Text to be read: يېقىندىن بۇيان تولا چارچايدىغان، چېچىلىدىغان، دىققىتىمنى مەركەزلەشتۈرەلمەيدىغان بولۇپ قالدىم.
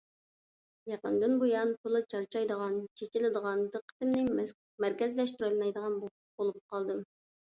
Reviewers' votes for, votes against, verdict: 1, 2, rejected